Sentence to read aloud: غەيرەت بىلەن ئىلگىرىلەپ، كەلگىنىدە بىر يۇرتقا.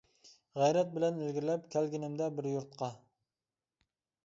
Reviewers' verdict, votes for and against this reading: accepted, 2, 0